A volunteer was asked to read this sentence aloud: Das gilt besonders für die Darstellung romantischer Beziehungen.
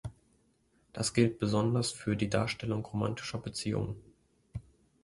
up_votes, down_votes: 2, 0